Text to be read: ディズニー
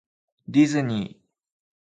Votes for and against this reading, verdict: 2, 1, accepted